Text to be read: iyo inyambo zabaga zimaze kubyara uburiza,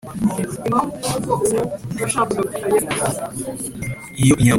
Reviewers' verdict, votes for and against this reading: accepted, 3, 0